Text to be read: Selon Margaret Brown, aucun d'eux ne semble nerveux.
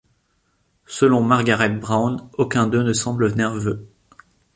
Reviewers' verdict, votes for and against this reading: accepted, 2, 0